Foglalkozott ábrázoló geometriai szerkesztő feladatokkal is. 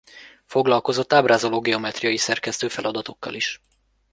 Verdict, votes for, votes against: accepted, 2, 0